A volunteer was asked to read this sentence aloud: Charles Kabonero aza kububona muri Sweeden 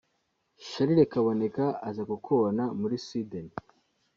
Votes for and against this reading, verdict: 0, 2, rejected